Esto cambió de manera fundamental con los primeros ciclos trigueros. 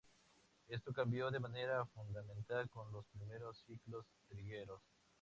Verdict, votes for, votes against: rejected, 0, 2